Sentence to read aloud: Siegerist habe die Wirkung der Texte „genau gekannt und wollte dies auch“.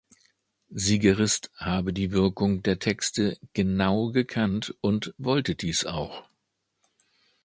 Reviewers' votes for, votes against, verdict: 2, 0, accepted